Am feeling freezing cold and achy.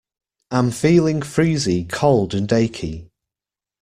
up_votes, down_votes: 2, 0